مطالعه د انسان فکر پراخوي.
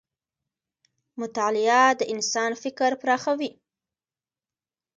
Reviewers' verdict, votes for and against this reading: accepted, 2, 0